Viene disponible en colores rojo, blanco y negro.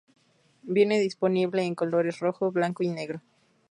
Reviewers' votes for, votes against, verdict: 4, 0, accepted